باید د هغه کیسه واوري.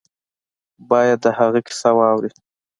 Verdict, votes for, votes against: accepted, 2, 0